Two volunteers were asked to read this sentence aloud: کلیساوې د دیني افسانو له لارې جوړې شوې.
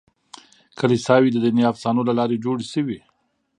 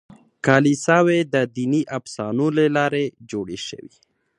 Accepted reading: second